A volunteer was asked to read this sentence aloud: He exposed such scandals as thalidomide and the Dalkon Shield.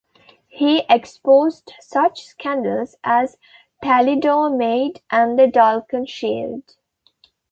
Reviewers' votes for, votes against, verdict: 0, 2, rejected